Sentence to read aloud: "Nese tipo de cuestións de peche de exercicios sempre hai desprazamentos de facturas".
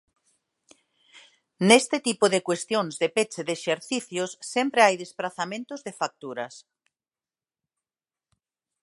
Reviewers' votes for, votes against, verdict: 1, 2, rejected